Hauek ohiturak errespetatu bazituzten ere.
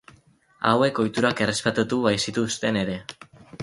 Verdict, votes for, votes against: rejected, 0, 2